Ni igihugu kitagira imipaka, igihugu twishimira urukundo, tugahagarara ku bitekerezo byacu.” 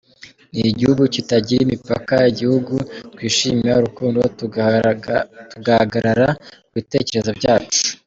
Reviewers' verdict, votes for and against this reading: rejected, 0, 2